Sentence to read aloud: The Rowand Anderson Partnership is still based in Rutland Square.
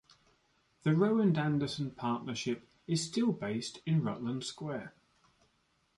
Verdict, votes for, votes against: accepted, 2, 1